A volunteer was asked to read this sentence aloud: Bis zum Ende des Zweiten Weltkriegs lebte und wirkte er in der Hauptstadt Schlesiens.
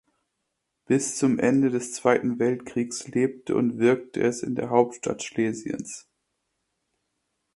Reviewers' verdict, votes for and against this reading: rejected, 1, 2